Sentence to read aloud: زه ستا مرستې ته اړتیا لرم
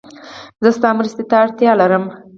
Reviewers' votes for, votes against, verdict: 2, 4, rejected